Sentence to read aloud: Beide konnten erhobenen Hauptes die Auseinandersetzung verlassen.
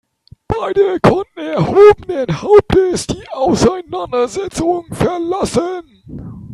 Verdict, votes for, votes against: rejected, 1, 2